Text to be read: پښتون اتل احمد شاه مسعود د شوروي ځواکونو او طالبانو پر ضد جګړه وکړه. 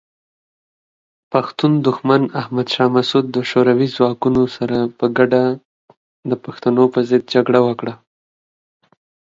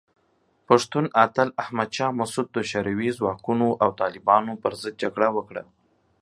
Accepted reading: second